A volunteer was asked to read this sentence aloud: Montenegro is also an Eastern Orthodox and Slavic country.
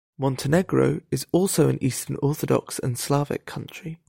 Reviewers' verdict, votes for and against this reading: accepted, 2, 0